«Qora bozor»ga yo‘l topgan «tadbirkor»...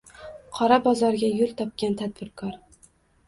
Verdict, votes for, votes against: accepted, 2, 0